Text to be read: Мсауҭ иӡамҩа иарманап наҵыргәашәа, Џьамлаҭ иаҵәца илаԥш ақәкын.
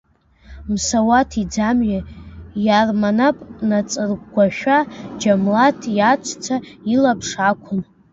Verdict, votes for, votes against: rejected, 0, 2